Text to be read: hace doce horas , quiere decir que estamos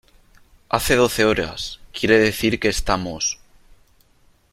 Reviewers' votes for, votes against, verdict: 3, 0, accepted